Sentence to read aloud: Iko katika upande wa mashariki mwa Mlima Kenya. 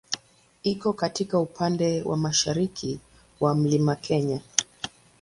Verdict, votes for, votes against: accepted, 2, 0